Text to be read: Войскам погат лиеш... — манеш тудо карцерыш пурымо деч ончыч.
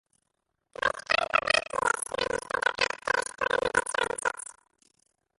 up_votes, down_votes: 0, 2